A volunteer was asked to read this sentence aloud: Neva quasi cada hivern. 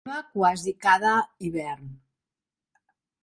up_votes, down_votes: 0, 2